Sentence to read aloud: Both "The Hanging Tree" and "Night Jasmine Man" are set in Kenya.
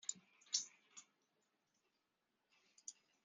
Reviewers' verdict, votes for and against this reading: rejected, 0, 2